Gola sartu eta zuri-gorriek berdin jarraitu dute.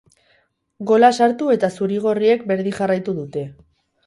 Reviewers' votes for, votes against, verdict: 2, 0, accepted